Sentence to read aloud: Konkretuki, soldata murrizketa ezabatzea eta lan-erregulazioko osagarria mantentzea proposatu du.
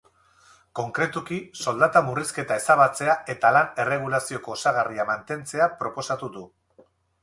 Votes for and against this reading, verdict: 4, 0, accepted